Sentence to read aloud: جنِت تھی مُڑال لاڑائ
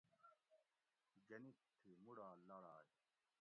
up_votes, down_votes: 1, 2